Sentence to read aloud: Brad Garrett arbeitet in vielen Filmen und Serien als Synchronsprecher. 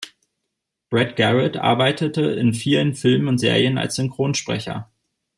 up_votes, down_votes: 0, 2